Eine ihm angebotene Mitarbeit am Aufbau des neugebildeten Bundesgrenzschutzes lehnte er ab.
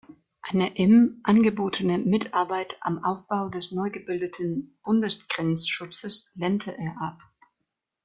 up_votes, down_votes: 1, 2